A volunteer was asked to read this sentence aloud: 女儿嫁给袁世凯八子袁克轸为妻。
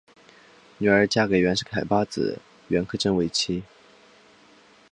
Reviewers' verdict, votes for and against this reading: accepted, 3, 0